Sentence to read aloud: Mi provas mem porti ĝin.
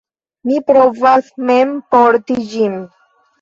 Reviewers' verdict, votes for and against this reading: accepted, 2, 1